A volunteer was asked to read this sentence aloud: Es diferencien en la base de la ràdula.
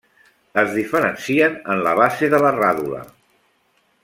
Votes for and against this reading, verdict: 3, 1, accepted